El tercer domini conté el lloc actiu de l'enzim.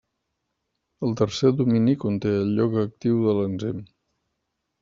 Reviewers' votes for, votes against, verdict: 3, 0, accepted